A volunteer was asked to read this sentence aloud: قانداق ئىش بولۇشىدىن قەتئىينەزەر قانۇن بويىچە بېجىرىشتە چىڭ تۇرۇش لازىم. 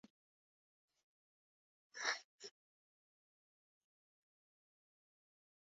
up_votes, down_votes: 0, 2